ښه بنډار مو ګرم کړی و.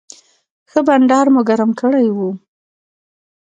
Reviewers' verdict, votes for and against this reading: accepted, 2, 0